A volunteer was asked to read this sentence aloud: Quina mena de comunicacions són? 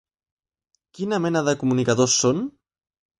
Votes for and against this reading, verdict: 0, 2, rejected